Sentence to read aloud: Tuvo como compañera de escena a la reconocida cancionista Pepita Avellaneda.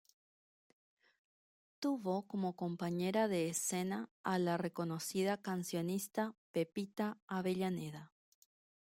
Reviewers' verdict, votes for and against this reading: rejected, 1, 2